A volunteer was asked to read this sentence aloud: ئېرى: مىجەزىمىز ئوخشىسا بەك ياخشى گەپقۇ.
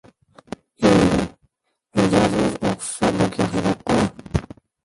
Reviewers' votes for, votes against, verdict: 0, 2, rejected